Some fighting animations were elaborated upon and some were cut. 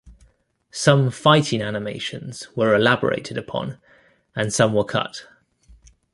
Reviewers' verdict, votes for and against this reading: accepted, 2, 0